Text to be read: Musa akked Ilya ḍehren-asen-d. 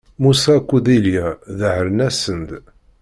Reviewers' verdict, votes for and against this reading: rejected, 0, 2